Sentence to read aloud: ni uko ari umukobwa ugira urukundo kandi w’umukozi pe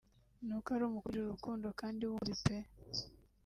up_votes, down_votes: 0, 2